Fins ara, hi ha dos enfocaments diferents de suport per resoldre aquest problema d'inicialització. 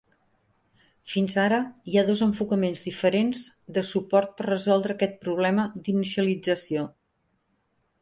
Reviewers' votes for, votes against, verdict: 3, 0, accepted